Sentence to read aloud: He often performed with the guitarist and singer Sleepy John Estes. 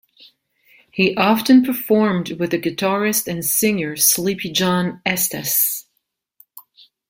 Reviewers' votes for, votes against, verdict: 2, 0, accepted